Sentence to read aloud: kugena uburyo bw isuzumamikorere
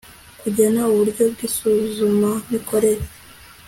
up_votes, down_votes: 2, 0